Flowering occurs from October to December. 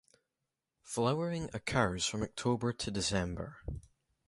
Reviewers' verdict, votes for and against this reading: accepted, 2, 0